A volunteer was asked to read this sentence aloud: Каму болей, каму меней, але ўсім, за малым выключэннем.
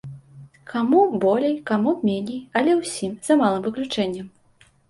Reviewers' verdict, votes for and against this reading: accepted, 2, 0